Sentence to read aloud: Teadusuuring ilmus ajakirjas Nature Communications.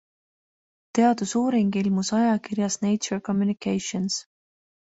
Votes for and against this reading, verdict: 2, 0, accepted